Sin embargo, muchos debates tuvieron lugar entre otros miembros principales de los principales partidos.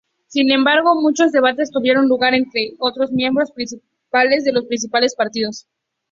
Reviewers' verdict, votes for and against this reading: rejected, 0, 2